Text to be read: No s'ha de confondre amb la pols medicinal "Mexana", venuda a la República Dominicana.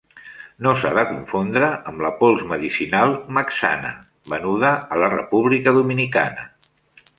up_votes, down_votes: 2, 0